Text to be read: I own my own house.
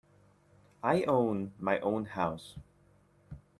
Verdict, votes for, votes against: accepted, 2, 0